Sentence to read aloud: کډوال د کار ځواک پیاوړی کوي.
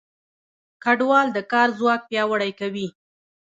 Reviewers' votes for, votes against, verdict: 1, 2, rejected